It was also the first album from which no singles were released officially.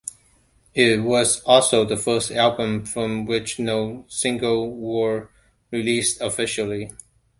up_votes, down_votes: 0, 2